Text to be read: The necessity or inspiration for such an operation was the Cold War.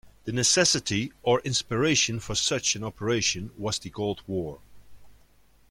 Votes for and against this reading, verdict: 2, 0, accepted